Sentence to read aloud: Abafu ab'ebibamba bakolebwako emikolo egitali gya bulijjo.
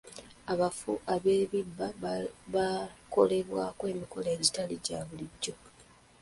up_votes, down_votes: 1, 2